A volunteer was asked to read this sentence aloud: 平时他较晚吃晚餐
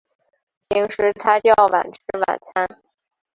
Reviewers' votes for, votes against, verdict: 7, 1, accepted